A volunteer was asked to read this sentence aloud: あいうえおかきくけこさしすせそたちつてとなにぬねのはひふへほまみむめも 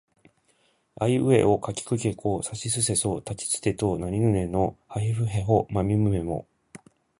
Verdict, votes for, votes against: accepted, 2, 0